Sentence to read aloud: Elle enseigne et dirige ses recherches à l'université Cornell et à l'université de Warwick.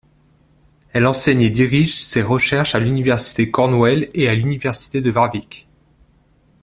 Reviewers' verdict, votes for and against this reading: rejected, 2, 3